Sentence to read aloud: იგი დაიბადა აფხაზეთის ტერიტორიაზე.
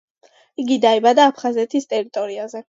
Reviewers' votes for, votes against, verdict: 2, 0, accepted